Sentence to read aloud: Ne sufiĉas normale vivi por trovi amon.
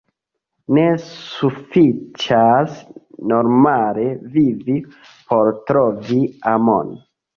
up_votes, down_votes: 1, 2